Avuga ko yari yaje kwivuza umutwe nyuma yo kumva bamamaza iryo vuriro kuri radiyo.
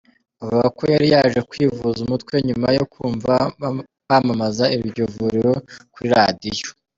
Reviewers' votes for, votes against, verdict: 0, 2, rejected